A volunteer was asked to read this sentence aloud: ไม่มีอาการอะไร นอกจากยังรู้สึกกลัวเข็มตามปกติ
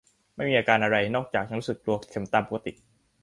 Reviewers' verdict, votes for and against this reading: rejected, 1, 2